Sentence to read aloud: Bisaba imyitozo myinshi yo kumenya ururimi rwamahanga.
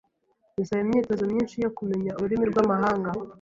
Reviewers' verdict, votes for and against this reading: accepted, 2, 0